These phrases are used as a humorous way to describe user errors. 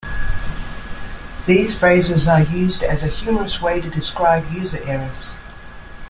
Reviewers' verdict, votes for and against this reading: rejected, 0, 2